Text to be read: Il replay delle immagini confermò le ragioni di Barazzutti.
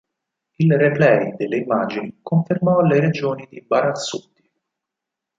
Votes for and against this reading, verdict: 2, 4, rejected